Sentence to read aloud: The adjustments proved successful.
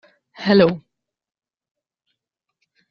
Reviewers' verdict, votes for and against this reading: rejected, 0, 2